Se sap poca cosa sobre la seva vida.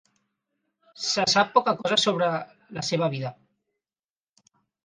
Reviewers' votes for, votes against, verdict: 4, 0, accepted